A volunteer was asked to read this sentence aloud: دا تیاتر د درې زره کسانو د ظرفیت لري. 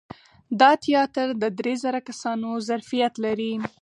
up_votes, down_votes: 2, 4